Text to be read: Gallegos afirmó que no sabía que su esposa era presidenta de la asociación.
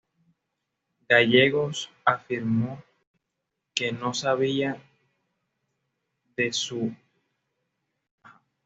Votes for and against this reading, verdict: 0, 2, rejected